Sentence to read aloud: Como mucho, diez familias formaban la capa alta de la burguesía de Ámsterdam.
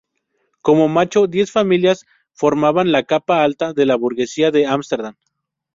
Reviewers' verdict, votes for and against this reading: rejected, 0, 2